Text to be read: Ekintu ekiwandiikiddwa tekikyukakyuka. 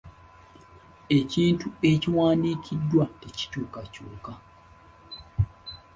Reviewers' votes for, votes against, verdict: 2, 0, accepted